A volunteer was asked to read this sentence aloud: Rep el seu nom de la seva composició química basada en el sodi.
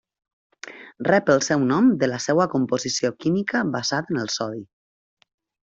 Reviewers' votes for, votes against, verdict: 0, 2, rejected